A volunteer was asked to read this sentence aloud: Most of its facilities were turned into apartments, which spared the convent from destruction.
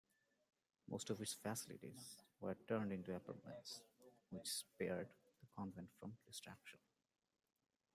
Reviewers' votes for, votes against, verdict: 1, 2, rejected